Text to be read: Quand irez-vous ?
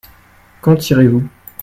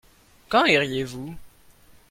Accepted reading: first